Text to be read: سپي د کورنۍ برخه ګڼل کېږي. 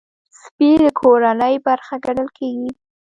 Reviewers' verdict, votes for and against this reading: accepted, 2, 0